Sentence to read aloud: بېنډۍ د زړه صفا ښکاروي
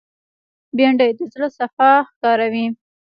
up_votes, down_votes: 2, 0